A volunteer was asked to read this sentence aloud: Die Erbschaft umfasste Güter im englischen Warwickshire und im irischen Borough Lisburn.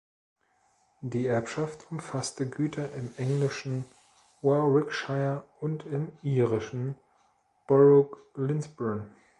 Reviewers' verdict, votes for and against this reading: rejected, 0, 2